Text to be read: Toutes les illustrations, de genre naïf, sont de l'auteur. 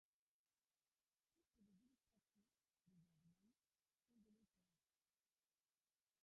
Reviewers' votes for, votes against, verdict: 0, 2, rejected